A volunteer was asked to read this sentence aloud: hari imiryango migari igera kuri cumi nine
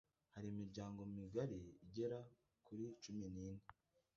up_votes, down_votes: 1, 2